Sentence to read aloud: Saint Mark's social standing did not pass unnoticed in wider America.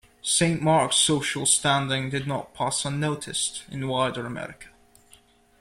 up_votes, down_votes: 2, 0